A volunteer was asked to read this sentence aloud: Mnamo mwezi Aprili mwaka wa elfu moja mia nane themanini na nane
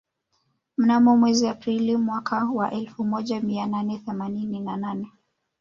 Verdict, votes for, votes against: rejected, 1, 2